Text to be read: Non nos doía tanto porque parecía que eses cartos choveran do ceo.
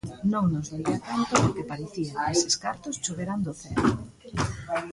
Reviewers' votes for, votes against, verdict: 0, 2, rejected